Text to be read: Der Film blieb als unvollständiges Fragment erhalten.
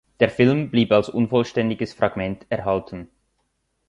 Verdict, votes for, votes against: accepted, 2, 0